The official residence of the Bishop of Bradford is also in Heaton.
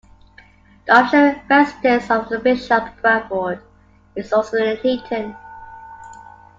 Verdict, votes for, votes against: rejected, 0, 2